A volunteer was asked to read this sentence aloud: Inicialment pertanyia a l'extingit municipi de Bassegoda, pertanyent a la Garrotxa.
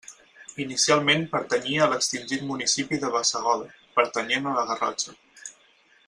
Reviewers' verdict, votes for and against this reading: accepted, 4, 0